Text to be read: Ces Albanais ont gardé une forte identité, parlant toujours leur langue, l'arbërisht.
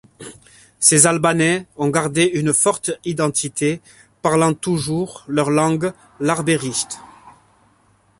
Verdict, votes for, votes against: accepted, 2, 0